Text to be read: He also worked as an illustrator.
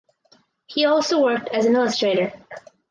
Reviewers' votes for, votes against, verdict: 4, 0, accepted